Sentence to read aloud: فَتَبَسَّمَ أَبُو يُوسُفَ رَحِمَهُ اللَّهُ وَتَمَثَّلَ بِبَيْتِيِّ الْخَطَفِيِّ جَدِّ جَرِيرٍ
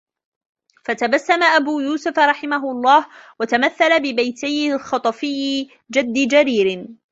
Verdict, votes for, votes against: rejected, 1, 2